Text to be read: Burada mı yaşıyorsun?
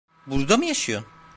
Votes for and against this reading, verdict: 0, 2, rejected